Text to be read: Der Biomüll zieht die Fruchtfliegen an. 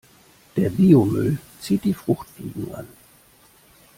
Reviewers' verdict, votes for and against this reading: accepted, 2, 0